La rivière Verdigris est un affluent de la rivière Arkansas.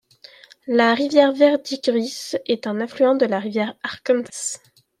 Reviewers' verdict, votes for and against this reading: rejected, 1, 2